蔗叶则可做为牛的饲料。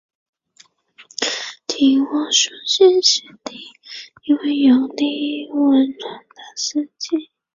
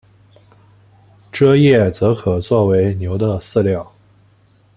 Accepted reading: second